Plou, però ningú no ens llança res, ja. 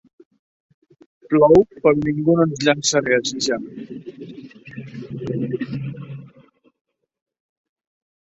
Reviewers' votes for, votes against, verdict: 1, 2, rejected